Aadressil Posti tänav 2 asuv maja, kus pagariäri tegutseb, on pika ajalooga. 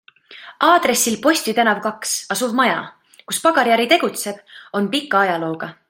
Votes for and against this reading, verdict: 0, 2, rejected